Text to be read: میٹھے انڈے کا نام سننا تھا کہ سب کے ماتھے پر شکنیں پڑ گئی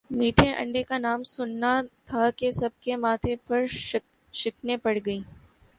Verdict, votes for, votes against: accepted, 2, 0